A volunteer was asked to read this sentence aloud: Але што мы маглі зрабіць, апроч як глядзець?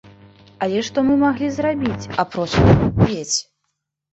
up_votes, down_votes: 0, 2